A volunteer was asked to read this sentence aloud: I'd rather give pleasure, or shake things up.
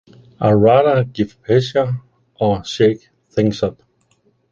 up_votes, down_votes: 1, 2